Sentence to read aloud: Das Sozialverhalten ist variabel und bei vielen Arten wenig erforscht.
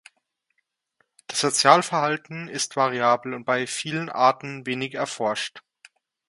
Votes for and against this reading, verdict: 2, 0, accepted